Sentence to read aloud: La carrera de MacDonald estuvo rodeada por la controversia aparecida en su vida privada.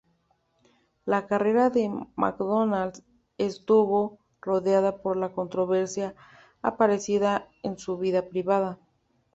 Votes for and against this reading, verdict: 2, 0, accepted